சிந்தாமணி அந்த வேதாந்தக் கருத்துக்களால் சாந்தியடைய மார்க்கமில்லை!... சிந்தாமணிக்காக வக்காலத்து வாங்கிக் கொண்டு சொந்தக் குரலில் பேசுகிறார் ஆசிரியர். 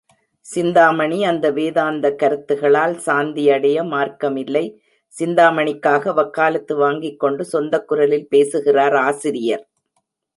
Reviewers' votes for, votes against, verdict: 1, 2, rejected